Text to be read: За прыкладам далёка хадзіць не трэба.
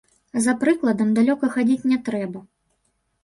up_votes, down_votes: 0, 3